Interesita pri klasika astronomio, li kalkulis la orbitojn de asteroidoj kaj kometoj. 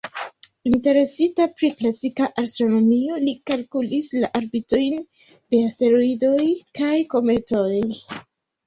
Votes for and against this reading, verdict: 0, 2, rejected